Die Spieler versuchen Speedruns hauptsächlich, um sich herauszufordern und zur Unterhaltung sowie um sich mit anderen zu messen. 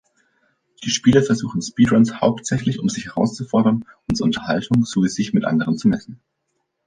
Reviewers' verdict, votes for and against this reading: rejected, 0, 2